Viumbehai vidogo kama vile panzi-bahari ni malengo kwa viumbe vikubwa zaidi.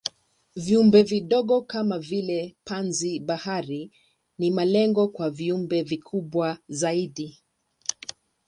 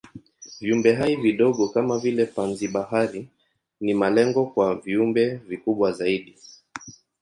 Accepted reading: second